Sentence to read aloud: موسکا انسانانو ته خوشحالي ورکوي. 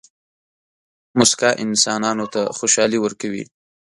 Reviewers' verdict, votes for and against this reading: accepted, 2, 0